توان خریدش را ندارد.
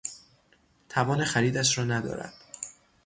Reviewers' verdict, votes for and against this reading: rejected, 3, 3